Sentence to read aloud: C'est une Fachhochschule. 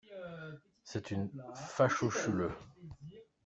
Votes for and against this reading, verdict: 1, 2, rejected